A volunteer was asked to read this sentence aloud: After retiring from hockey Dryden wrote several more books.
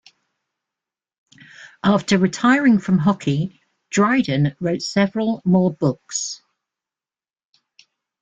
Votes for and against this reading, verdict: 1, 2, rejected